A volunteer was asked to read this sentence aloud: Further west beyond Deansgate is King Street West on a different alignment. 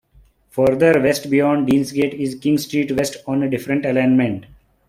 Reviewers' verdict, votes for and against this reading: accepted, 3, 0